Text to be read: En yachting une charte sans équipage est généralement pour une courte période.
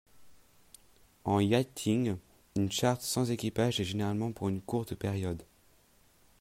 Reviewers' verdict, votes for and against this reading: accepted, 2, 0